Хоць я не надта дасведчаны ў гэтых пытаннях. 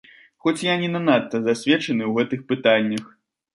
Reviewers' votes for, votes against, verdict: 0, 2, rejected